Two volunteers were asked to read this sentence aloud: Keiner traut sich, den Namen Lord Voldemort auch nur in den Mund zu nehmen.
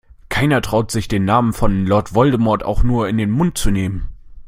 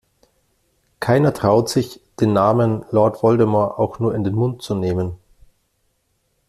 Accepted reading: second